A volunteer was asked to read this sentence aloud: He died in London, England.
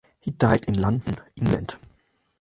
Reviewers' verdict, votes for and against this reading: accepted, 2, 0